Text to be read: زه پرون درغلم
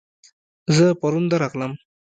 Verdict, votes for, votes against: rejected, 0, 2